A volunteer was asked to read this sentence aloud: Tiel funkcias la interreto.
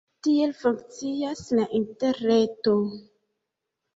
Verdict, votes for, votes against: accepted, 2, 1